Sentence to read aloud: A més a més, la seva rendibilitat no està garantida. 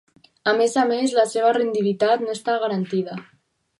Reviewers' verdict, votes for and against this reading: rejected, 0, 2